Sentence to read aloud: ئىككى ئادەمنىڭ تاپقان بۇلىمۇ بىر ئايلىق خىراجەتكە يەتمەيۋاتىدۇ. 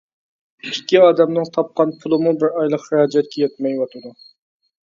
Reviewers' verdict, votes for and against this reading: accepted, 2, 0